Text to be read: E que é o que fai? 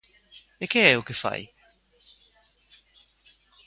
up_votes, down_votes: 2, 0